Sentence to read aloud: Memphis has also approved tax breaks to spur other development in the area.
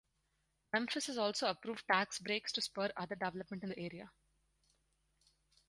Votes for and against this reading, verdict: 0, 4, rejected